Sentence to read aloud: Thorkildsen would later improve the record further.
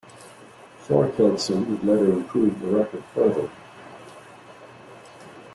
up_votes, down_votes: 1, 2